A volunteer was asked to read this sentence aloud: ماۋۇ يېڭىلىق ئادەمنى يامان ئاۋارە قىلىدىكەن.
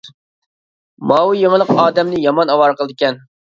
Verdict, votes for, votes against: accepted, 2, 0